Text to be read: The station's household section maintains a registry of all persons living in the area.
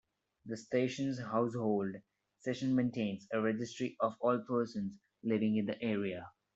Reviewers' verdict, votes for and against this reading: accepted, 2, 1